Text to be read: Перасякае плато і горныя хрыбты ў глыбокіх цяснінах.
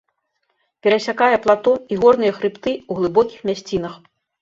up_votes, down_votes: 0, 2